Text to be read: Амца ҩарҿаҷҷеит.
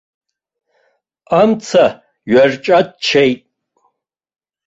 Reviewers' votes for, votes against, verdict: 0, 2, rejected